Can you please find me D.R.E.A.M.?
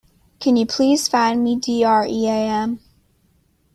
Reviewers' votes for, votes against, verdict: 2, 0, accepted